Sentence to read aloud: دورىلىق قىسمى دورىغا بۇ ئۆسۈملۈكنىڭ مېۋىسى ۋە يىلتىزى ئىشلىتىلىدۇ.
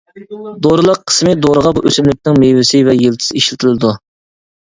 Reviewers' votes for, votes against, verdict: 2, 1, accepted